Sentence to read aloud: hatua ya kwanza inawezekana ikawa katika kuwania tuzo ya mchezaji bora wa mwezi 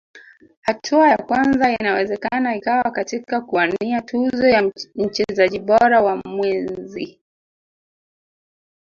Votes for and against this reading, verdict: 1, 2, rejected